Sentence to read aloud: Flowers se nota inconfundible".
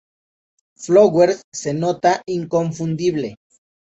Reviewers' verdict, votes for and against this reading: accepted, 2, 0